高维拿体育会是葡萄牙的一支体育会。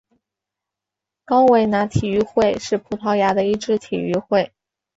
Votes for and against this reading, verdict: 4, 0, accepted